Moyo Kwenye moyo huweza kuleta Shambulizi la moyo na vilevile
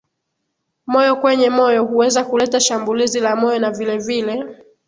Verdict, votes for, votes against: accepted, 2, 0